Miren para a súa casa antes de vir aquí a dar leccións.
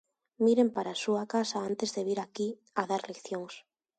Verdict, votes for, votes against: accepted, 2, 0